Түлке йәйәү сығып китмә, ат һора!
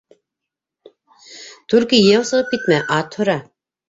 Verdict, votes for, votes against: accepted, 2, 1